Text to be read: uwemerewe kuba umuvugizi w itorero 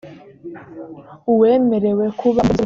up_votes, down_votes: 0, 2